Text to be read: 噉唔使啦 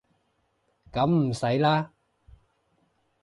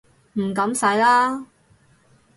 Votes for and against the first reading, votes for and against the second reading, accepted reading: 2, 0, 2, 4, first